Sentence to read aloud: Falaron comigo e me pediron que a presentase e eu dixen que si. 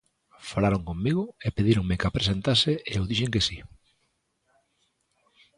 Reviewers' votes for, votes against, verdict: 0, 2, rejected